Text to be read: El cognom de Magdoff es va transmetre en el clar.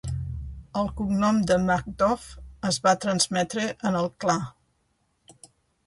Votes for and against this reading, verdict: 2, 0, accepted